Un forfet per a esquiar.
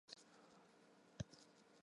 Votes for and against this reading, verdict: 0, 3, rejected